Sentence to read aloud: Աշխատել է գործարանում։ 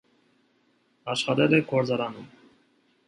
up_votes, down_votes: 2, 0